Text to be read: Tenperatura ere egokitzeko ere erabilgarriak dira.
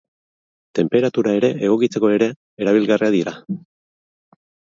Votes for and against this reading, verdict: 2, 2, rejected